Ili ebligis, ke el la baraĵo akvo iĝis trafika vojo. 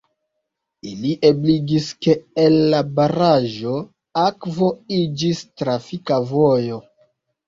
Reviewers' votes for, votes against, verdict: 2, 1, accepted